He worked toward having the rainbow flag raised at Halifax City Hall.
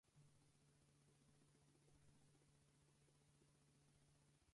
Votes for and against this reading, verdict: 2, 4, rejected